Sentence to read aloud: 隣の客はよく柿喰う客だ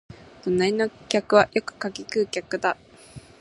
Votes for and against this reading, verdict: 0, 2, rejected